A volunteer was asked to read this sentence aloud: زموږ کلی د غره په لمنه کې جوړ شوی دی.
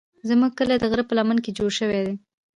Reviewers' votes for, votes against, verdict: 3, 1, accepted